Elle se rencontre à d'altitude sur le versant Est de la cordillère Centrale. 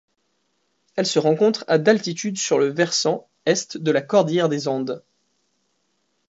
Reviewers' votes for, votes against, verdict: 0, 2, rejected